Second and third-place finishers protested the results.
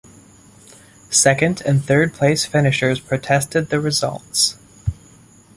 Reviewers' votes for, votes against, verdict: 2, 1, accepted